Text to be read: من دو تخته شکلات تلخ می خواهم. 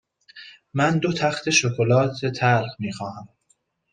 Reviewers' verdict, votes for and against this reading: rejected, 1, 2